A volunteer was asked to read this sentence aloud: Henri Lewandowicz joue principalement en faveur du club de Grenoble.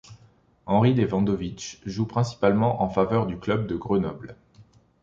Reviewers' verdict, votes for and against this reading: accepted, 2, 0